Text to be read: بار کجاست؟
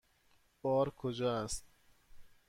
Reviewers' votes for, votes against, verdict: 1, 2, rejected